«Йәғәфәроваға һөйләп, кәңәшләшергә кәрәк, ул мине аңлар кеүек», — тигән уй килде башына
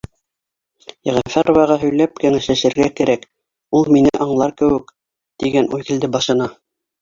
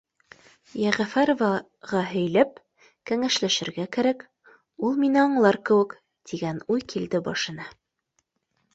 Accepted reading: second